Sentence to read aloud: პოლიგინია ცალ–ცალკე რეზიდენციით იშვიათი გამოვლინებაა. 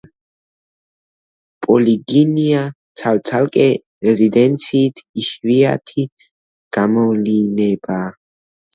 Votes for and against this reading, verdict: 1, 2, rejected